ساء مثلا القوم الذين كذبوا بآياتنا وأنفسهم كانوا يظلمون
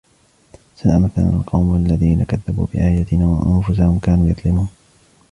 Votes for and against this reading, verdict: 0, 2, rejected